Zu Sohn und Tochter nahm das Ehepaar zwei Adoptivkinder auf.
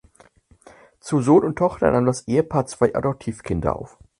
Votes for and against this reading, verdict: 4, 0, accepted